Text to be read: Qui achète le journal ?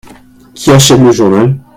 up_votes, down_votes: 1, 2